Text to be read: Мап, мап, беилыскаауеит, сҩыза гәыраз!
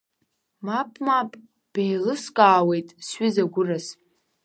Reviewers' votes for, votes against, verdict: 2, 0, accepted